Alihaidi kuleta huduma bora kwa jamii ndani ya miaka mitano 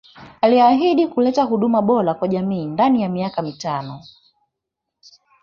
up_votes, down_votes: 1, 2